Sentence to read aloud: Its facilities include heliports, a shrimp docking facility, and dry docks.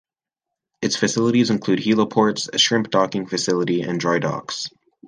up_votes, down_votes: 2, 0